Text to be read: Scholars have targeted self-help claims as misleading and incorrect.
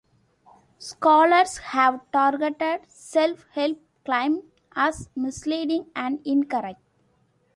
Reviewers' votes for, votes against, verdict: 1, 2, rejected